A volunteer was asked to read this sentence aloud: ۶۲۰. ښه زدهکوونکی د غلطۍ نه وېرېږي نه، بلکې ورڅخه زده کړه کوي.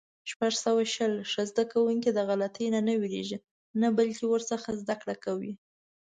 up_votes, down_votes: 0, 2